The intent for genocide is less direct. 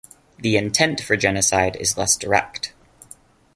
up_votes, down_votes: 2, 0